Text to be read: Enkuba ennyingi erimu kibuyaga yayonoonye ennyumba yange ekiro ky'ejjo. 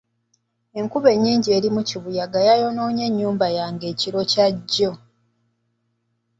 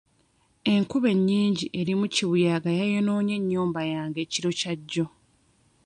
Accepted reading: first